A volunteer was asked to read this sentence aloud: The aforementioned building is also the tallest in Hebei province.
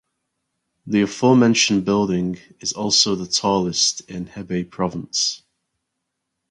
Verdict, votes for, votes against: accepted, 4, 0